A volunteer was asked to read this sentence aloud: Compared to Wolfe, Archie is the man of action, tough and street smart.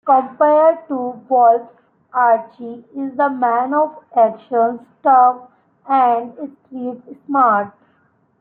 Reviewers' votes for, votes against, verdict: 1, 2, rejected